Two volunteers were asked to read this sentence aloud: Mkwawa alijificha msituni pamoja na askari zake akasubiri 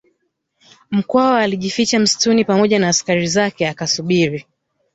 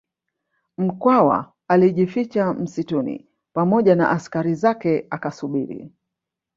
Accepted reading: first